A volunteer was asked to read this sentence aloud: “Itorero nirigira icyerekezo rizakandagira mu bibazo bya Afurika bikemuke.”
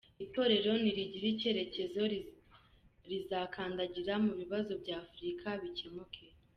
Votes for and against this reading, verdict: 0, 2, rejected